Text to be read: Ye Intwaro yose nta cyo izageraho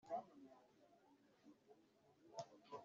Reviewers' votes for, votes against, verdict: 1, 2, rejected